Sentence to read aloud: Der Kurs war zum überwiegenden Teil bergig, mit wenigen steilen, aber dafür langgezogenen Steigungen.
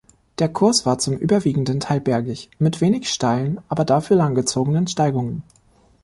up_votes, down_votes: 0, 2